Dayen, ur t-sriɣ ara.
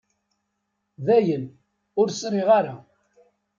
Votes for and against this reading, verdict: 1, 2, rejected